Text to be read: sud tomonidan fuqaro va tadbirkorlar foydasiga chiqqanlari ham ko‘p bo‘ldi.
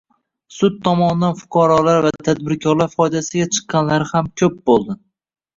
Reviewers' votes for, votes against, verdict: 1, 2, rejected